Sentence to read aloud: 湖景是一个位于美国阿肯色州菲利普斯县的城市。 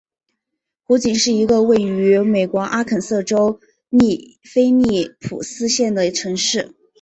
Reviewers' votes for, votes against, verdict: 8, 0, accepted